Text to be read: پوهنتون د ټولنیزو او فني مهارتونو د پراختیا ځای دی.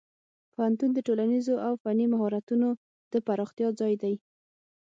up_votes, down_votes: 6, 0